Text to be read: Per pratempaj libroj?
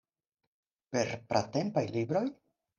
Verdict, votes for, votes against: accepted, 4, 0